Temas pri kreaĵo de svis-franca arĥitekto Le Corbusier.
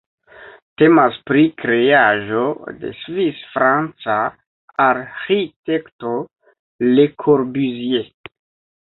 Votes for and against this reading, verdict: 1, 2, rejected